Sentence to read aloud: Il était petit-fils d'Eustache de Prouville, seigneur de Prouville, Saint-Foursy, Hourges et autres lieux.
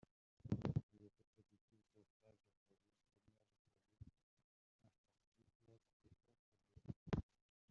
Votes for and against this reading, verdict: 0, 2, rejected